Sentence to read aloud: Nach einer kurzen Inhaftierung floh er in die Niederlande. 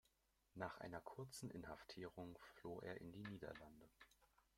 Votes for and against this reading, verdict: 1, 2, rejected